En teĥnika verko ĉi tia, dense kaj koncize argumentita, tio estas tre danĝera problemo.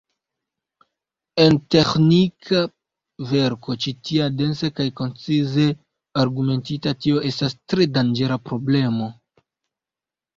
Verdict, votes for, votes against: rejected, 1, 2